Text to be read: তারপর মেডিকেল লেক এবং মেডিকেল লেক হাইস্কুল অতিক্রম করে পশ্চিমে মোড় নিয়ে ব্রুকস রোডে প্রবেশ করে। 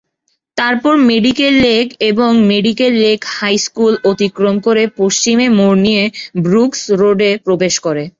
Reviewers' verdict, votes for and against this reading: accepted, 3, 0